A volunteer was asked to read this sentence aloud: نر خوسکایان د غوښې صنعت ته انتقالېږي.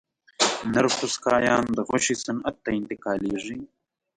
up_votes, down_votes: 1, 2